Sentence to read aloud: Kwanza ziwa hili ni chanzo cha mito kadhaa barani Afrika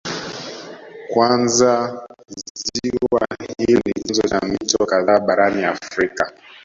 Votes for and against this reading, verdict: 1, 2, rejected